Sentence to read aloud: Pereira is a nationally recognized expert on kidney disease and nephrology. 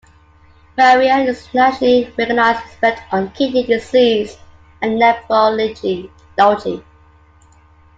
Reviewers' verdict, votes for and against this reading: accepted, 2, 1